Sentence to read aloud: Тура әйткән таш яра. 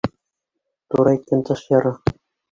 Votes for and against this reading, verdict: 1, 2, rejected